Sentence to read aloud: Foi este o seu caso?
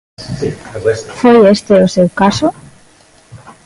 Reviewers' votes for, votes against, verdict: 1, 2, rejected